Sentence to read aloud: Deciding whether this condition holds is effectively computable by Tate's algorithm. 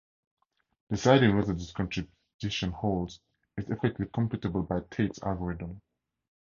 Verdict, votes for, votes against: rejected, 0, 2